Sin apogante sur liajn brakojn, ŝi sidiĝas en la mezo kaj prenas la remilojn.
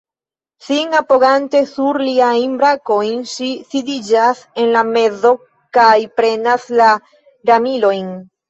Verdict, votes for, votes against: rejected, 1, 2